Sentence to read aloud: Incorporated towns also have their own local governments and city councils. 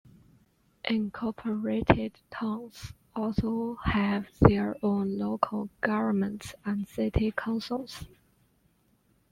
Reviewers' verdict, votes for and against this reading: accepted, 2, 0